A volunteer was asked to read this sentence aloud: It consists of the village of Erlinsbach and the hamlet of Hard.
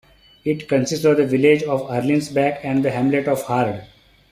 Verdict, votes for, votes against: accepted, 2, 0